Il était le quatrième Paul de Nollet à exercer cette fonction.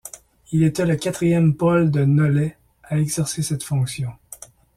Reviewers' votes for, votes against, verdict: 2, 0, accepted